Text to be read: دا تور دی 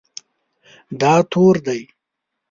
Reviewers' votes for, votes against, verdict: 2, 0, accepted